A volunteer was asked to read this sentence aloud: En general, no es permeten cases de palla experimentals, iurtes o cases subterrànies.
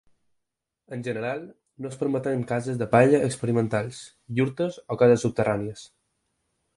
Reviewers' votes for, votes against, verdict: 4, 0, accepted